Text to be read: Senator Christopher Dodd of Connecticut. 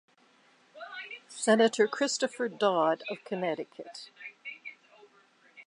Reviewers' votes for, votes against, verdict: 2, 0, accepted